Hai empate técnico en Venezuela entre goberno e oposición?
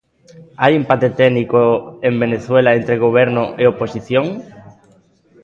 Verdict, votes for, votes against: accepted, 2, 0